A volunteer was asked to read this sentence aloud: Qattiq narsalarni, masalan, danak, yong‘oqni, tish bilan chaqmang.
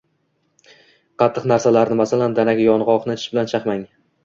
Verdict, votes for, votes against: accepted, 2, 1